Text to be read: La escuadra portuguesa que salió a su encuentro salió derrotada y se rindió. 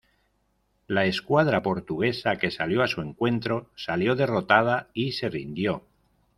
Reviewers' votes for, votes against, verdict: 2, 0, accepted